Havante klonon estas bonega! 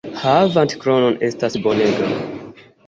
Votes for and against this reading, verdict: 1, 2, rejected